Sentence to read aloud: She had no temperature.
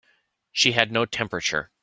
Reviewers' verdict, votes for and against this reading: accepted, 2, 0